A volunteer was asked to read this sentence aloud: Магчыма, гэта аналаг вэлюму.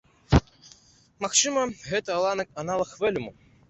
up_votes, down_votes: 0, 2